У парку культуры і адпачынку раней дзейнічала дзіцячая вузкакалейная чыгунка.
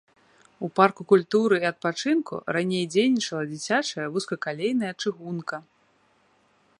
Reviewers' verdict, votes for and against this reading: accepted, 2, 0